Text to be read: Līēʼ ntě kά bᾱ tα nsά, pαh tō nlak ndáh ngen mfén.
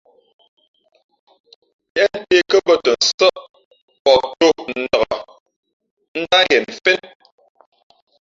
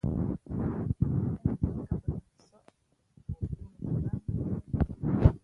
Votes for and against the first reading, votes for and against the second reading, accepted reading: 2, 0, 0, 3, first